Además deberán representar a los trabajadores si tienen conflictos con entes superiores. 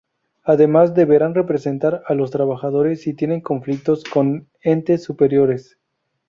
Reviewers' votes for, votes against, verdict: 2, 0, accepted